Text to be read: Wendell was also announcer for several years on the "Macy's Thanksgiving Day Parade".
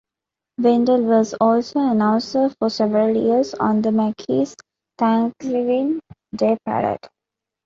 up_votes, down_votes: 1, 2